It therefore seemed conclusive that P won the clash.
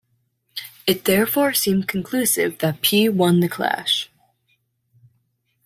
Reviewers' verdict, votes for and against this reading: rejected, 0, 2